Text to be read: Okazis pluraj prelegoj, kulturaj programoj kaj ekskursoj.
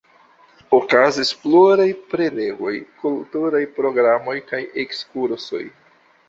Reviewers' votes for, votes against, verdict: 2, 0, accepted